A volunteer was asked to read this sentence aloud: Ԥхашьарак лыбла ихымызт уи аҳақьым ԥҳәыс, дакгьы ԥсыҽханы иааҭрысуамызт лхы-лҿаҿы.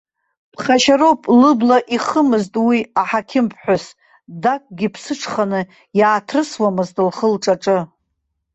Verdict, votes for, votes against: rejected, 1, 2